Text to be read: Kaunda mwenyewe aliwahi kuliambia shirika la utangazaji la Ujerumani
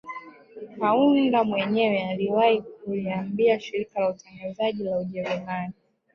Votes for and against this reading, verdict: 1, 2, rejected